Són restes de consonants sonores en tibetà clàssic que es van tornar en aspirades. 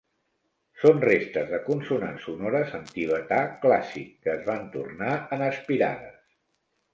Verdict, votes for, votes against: accepted, 4, 0